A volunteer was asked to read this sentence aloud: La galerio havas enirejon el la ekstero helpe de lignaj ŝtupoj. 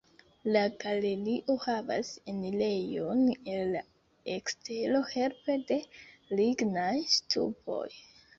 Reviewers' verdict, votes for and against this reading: accepted, 2, 0